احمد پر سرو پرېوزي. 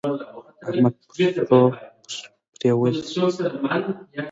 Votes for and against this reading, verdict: 0, 2, rejected